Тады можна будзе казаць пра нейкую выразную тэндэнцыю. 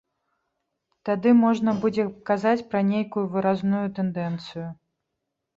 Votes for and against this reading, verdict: 0, 2, rejected